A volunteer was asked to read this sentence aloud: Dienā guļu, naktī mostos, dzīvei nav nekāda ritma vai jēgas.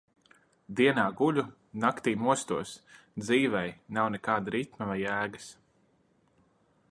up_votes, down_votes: 2, 0